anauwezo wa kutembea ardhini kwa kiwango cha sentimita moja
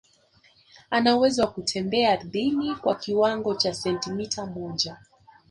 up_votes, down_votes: 2, 0